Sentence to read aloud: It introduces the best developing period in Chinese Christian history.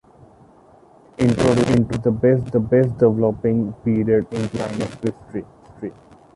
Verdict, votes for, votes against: rejected, 0, 2